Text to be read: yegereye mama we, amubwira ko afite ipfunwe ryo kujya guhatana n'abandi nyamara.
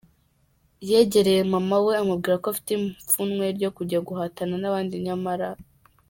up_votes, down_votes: 2, 0